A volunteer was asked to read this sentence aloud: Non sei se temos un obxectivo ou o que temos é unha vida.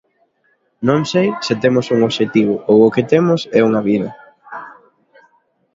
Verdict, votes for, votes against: accepted, 2, 0